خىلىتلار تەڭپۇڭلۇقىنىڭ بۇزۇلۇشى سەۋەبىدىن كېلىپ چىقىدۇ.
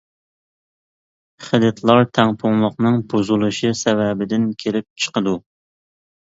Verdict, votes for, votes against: rejected, 1, 2